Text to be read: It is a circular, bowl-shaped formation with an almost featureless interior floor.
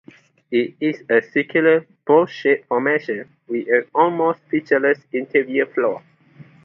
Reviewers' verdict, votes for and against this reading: accepted, 2, 0